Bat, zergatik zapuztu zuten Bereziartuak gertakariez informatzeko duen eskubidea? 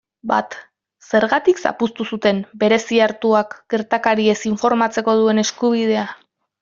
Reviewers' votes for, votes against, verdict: 2, 0, accepted